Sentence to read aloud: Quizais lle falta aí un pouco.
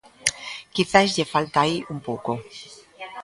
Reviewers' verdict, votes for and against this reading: accepted, 2, 0